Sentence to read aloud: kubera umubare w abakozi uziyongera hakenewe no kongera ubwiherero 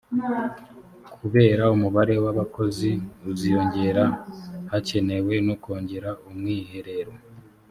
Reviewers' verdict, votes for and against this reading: rejected, 1, 2